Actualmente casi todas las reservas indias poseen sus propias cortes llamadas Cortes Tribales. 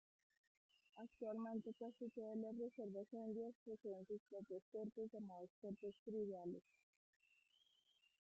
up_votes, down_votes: 0, 2